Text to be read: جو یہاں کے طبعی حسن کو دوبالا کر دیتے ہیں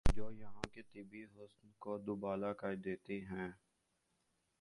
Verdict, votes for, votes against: rejected, 0, 2